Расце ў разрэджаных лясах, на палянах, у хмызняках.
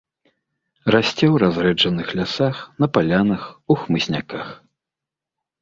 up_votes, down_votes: 2, 0